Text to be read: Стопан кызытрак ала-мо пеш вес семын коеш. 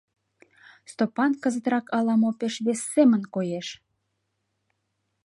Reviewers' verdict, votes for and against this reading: accepted, 2, 0